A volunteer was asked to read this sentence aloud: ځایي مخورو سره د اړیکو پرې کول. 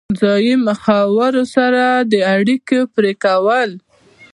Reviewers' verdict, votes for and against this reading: rejected, 1, 2